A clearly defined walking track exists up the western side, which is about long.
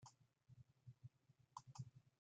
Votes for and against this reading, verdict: 0, 2, rejected